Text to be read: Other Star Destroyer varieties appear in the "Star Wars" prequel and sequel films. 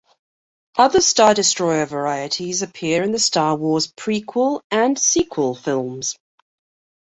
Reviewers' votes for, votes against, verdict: 2, 0, accepted